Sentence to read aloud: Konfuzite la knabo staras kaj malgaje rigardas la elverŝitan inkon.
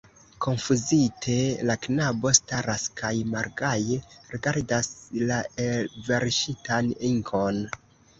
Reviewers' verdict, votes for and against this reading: rejected, 0, 2